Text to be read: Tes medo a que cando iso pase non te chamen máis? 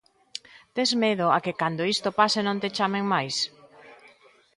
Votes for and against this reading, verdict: 0, 2, rejected